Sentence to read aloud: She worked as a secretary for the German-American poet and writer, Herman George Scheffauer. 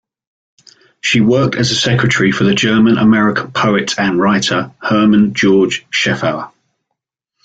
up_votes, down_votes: 2, 0